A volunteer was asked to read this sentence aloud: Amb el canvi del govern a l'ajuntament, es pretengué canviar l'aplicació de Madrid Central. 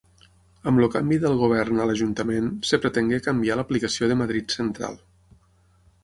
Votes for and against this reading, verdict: 3, 6, rejected